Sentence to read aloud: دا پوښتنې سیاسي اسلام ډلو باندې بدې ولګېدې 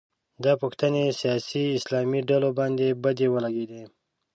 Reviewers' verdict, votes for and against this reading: accepted, 2, 0